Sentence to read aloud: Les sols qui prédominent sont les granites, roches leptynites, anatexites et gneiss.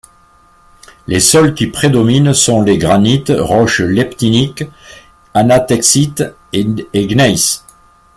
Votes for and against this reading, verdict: 0, 2, rejected